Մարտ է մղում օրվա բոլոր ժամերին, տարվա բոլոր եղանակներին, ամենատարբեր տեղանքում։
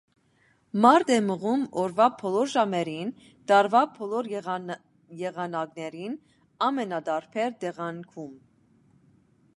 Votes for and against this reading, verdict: 0, 2, rejected